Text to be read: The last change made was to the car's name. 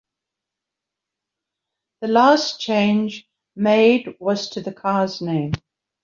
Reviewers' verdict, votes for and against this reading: accepted, 2, 1